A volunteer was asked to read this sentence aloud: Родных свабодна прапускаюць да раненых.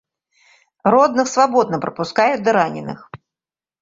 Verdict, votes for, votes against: accepted, 2, 0